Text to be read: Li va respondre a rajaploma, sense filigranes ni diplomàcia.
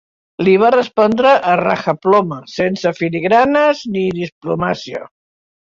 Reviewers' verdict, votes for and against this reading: accepted, 2, 1